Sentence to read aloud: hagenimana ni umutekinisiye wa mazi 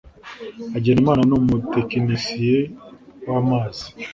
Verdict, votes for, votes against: accepted, 2, 0